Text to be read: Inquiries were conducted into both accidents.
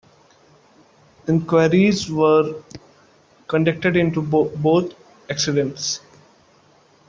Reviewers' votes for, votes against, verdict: 0, 2, rejected